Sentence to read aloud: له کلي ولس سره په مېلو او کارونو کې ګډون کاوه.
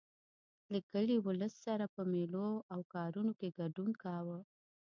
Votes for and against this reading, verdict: 1, 2, rejected